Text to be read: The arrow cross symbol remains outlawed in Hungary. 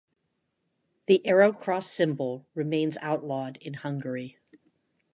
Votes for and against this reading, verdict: 2, 0, accepted